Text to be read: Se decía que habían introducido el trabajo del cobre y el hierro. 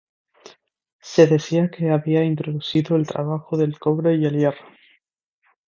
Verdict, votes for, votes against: rejected, 0, 2